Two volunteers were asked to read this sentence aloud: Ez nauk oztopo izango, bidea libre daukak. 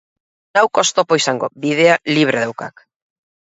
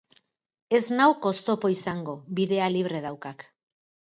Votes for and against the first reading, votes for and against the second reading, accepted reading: 4, 4, 8, 0, second